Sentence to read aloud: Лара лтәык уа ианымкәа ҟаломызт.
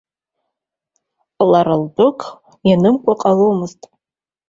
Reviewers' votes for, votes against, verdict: 2, 0, accepted